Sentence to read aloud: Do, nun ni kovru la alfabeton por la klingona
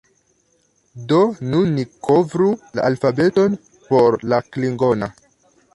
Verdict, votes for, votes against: accepted, 2, 0